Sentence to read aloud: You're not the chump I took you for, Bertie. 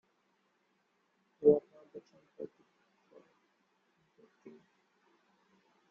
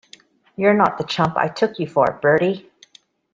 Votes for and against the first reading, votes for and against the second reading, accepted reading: 0, 2, 2, 0, second